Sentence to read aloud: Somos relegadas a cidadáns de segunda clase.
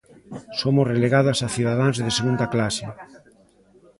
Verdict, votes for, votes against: rejected, 1, 2